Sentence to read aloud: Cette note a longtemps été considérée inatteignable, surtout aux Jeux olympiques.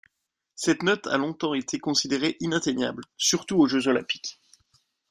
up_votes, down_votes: 2, 0